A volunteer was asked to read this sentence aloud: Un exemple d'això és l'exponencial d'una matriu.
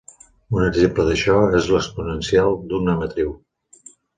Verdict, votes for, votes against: accepted, 2, 0